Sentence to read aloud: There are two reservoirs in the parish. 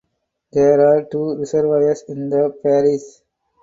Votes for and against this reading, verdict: 2, 0, accepted